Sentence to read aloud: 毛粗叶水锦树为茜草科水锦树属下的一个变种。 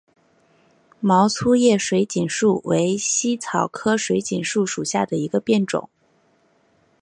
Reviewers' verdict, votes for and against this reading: accepted, 3, 0